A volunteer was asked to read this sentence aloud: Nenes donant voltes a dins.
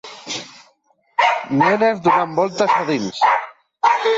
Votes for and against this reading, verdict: 1, 2, rejected